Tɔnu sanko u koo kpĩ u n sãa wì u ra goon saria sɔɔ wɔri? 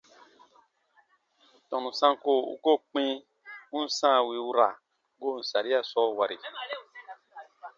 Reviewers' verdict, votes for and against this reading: accepted, 2, 0